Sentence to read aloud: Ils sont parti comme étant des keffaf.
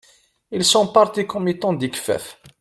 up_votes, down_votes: 0, 2